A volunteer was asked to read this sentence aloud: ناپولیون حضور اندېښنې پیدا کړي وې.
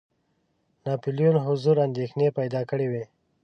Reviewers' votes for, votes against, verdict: 2, 0, accepted